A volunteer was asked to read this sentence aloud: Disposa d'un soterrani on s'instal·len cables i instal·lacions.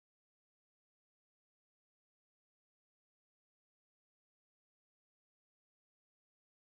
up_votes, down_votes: 0, 2